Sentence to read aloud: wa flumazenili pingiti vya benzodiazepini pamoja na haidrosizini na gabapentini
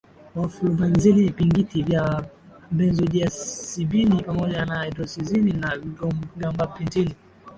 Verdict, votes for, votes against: rejected, 1, 2